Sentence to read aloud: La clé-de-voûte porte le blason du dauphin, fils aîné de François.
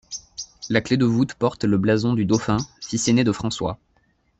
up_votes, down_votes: 2, 0